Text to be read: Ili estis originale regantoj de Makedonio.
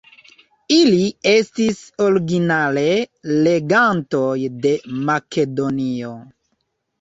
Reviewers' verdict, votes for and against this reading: rejected, 0, 2